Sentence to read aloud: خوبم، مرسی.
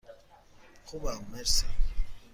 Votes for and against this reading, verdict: 3, 0, accepted